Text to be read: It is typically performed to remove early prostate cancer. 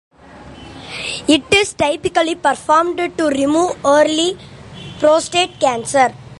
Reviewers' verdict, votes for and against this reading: accepted, 2, 0